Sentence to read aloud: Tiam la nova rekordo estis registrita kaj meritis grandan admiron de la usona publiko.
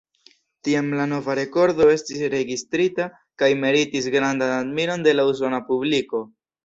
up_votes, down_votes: 2, 0